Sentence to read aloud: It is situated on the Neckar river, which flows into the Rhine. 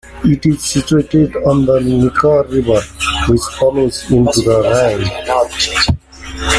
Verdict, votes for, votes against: rejected, 0, 2